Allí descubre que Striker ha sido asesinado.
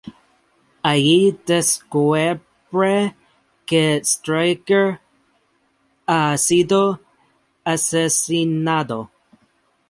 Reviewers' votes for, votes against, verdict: 0, 2, rejected